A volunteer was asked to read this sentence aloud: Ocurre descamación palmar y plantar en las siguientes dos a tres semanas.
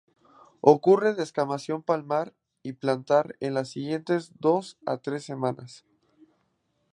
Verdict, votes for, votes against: accepted, 2, 0